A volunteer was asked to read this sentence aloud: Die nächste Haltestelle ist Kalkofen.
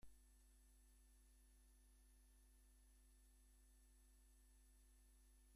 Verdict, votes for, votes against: rejected, 1, 2